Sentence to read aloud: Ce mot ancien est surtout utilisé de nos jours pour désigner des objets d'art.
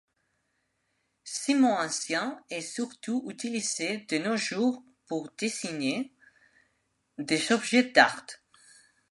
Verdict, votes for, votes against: accepted, 2, 0